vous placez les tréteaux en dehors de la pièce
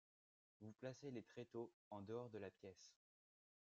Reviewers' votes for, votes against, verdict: 2, 0, accepted